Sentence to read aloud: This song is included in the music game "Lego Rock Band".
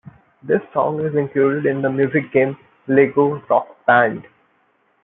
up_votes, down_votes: 2, 0